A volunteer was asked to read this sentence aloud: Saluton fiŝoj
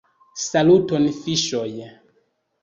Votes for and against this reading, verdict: 2, 0, accepted